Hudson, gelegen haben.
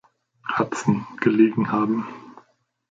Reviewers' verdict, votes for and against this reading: accepted, 2, 0